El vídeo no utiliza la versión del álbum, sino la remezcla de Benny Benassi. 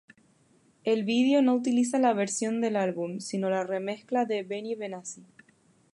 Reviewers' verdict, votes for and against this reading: rejected, 0, 2